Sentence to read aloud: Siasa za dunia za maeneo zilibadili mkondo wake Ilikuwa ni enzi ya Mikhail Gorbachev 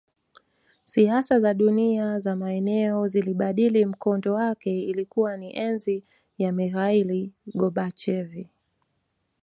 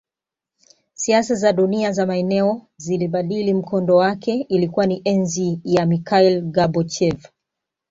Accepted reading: first